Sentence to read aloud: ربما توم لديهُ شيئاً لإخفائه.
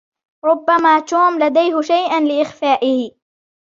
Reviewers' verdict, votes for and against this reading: accepted, 2, 1